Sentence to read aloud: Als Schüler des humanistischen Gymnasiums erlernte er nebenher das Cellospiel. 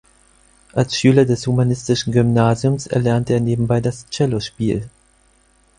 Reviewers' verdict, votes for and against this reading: rejected, 2, 4